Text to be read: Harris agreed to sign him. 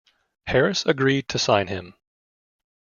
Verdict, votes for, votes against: accepted, 2, 0